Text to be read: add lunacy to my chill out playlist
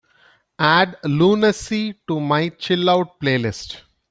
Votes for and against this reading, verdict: 2, 0, accepted